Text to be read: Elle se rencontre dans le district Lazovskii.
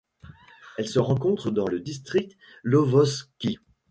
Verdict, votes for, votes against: rejected, 0, 2